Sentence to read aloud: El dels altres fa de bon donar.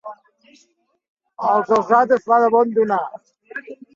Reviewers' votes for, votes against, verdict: 0, 3, rejected